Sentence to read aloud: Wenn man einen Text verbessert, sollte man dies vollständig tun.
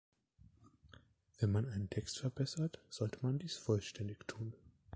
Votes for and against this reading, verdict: 1, 2, rejected